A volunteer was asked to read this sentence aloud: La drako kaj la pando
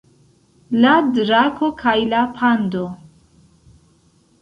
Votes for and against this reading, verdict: 2, 1, accepted